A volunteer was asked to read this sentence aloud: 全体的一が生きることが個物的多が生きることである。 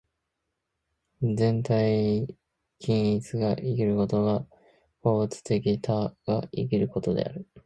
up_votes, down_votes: 0, 2